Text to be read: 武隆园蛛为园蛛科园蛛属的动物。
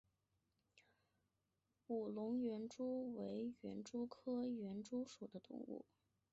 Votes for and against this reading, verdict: 0, 2, rejected